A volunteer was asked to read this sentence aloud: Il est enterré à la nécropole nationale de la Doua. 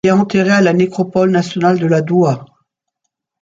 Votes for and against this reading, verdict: 0, 2, rejected